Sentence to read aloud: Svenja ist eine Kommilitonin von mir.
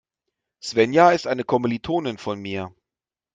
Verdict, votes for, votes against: accepted, 2, 0